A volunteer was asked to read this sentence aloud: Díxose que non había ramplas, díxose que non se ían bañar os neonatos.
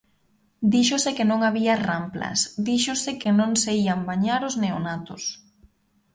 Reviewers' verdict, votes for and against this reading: accepted, 2, 0